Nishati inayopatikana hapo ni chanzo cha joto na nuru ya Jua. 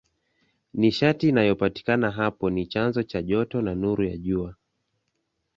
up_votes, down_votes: 2, 0